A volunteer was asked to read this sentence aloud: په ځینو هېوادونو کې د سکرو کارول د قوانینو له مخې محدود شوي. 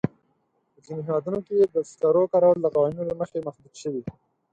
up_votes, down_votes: 2, 4